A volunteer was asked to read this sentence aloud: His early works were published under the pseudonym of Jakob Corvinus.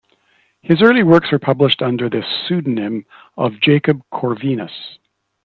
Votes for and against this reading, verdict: 2, 0, accepted